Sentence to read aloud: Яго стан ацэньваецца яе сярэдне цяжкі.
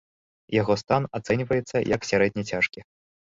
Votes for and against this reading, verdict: 0, 2, rejected